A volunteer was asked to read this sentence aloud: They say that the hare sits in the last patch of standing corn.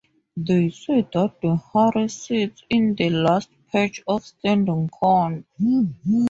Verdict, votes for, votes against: accepted, 2, 0